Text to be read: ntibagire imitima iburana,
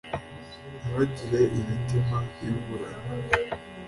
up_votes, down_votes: 2, 0